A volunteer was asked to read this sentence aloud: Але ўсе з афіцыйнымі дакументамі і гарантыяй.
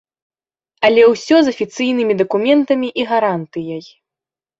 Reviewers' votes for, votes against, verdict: 0, 2, rejected